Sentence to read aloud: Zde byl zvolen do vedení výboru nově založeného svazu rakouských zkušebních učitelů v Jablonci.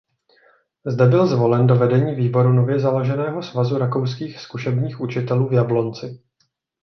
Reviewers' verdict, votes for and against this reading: accepted, 2, 0